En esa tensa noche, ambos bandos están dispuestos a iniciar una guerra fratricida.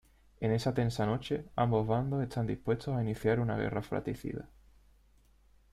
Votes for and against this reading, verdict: 2, 0, accepted